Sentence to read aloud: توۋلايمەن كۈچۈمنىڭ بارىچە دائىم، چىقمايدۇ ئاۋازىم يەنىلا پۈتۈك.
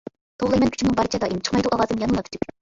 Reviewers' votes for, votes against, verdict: 0, 2, rejected